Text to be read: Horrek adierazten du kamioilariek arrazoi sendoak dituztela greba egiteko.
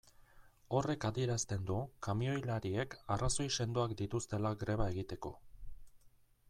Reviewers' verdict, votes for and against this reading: accepted, 2, 0